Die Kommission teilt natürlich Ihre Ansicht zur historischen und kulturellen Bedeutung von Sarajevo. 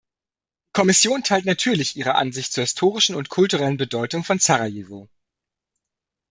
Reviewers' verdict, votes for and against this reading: rejected, 0, 2